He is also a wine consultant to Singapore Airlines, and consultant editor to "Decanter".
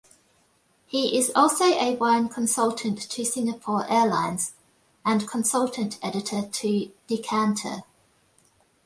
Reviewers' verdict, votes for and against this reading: accepted, 2, 0